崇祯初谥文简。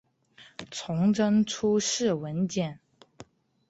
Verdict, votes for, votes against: accepted, 2, 0